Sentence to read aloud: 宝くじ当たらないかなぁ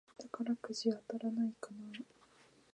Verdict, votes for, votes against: rejected, 0, 2